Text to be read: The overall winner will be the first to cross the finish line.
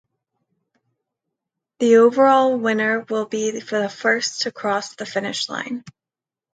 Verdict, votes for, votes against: rejected, 0, 2